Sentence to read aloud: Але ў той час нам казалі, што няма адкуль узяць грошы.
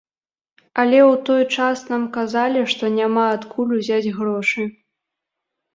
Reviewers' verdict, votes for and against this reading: accepted, 2, 0